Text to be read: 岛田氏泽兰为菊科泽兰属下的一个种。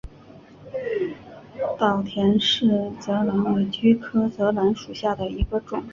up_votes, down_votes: 4, 1